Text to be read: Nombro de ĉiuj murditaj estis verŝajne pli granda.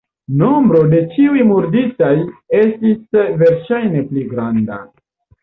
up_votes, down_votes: 1, 2